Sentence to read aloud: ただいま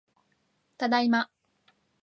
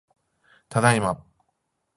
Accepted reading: first